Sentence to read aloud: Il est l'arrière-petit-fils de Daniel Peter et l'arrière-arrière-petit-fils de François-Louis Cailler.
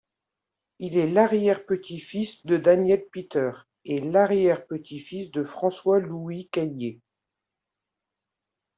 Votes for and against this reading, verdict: 0, 2, rejected